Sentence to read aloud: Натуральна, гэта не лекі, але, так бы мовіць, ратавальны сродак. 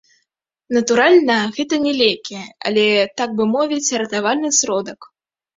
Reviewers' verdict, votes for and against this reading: rejected, 0, 2